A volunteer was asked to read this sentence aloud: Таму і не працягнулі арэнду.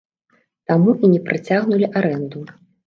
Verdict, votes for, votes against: rejected, 1, 2